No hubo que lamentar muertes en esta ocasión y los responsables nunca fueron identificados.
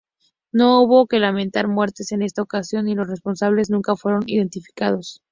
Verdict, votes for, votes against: accepted, 2, 0